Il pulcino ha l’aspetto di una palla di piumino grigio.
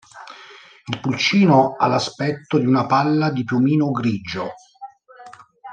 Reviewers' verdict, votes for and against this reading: accepted, 2, 1